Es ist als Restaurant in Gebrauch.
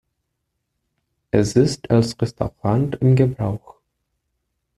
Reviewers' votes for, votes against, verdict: 2, 3, rejected